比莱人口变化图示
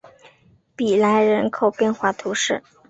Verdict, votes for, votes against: accepted, 2, 0